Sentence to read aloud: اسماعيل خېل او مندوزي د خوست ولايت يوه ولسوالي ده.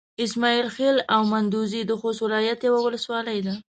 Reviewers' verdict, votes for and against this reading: accepted, 2, 0